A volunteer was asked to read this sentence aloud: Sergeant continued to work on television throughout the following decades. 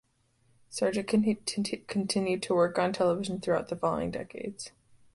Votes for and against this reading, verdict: 0, 2, rejected